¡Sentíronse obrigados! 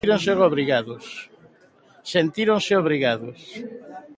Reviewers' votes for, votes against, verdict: 0, 2, rejected